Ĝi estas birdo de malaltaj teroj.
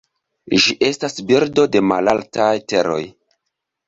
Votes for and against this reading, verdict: 2, 0, accepted